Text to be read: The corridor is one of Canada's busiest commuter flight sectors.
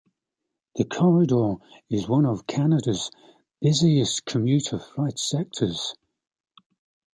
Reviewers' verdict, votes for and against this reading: accepted, 2, 0